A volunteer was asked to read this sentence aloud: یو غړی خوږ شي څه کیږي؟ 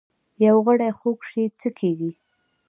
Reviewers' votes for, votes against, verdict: 1, 2, rejected